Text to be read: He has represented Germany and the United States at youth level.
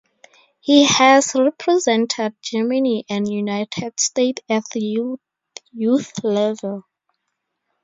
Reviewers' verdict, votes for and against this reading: rejected, 0, 2